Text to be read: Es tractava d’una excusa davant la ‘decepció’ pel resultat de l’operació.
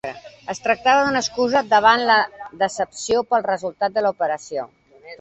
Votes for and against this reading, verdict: 2, 0, accepted